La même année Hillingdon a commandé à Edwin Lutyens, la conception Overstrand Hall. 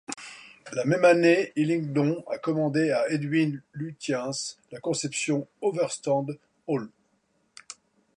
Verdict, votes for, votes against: rejected, 1, 2